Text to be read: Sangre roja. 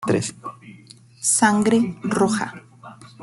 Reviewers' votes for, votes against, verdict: 1, 2, rejected